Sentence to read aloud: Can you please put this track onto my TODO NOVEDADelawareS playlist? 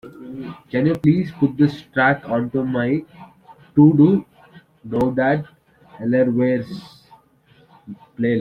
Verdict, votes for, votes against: rejected, 0, 2